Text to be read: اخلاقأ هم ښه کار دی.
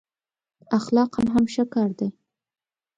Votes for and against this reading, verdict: 2, 0, accepted